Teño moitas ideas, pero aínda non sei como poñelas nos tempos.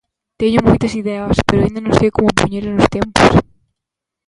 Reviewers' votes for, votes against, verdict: 0, 2, rejected